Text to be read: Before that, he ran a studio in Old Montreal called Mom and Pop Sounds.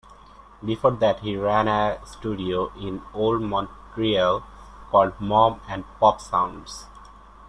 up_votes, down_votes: 1, 2